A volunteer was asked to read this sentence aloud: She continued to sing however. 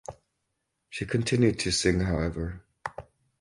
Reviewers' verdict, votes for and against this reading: rejected, 2, 2